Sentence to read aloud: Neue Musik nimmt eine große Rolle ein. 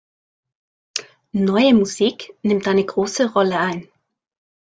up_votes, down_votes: 2, 0